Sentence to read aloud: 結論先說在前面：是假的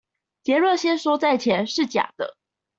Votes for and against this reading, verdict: 0, 2, rejected